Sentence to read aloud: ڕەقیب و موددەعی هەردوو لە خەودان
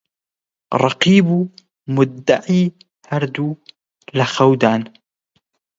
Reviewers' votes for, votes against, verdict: 20, 0, accepted